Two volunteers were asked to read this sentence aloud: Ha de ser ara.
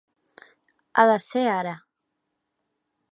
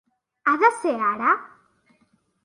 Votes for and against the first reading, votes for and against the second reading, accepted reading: 3, 0, 0, 2, first